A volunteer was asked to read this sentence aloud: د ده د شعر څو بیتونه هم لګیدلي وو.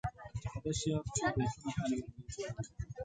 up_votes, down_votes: 0, 2